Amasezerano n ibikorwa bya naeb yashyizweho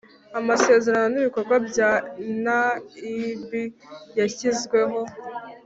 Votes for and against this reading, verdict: 2, 0, accepted